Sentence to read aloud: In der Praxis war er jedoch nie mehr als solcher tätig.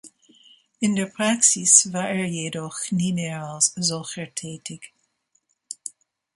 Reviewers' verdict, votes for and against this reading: accepted, 2, 0